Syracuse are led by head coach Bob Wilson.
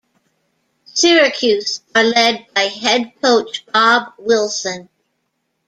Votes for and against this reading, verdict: 2, 0, accepted